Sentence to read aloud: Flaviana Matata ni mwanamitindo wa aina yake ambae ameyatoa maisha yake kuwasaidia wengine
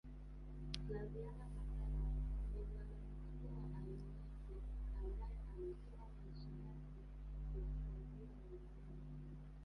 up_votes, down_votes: 1, 2